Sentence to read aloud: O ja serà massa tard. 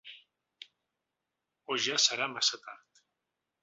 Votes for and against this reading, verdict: 3, 0, accepted